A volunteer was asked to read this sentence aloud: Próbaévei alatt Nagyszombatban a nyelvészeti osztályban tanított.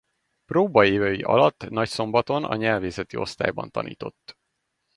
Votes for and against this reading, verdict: 0, 2, rejected